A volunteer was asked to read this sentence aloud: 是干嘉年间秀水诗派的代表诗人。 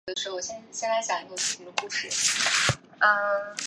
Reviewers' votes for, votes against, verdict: 0, 2, rejected